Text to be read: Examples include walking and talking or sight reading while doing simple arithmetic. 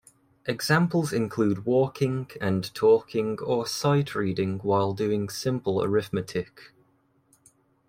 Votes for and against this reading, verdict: 2, 0, accepted